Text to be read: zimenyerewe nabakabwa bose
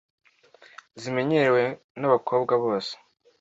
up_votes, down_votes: 2, 0